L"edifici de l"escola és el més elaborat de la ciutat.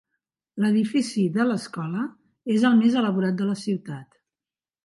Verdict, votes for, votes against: accepted, 4, 0